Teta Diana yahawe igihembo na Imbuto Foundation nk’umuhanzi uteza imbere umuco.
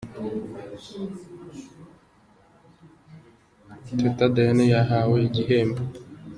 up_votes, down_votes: 2, 0